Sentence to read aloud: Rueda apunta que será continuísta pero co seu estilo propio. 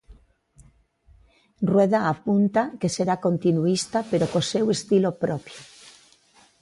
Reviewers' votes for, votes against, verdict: 2, 0, accepted